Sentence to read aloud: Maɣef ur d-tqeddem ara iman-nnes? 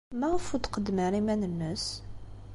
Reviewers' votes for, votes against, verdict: 2, 0, accepted